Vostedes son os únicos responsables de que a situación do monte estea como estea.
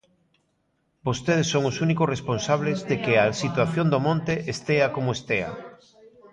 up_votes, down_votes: 1, 2